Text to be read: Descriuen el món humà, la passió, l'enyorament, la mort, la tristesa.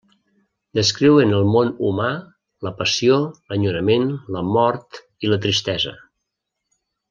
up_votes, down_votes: 0, 2